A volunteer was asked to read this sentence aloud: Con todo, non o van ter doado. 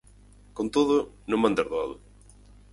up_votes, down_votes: 0, 4